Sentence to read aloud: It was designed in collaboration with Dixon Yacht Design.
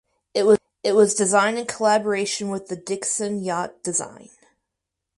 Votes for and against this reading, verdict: 2, 4, rejected